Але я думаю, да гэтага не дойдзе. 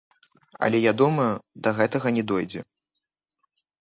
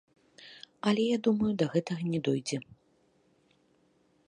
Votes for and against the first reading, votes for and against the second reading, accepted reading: 0, 3, 2, 0, second